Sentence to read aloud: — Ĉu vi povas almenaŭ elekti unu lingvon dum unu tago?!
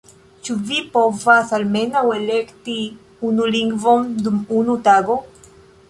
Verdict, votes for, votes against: rejected, 1, 2